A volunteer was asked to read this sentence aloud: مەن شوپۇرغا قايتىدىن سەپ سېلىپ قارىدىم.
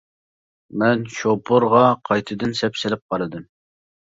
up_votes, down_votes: 2, 0